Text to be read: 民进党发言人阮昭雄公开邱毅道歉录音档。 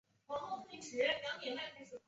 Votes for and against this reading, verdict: 0, 4, rejected